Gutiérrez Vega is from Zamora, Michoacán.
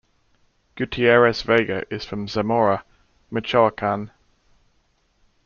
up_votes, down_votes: 1, 2